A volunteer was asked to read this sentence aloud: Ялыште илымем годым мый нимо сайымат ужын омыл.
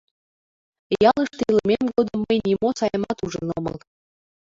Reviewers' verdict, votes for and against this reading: rejected, 0, 2